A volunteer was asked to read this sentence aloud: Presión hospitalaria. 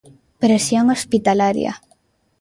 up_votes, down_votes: 2, 0